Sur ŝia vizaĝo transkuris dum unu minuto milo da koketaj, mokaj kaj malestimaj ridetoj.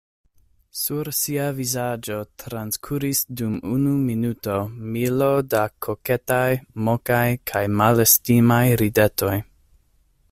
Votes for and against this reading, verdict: 1, 2, rejected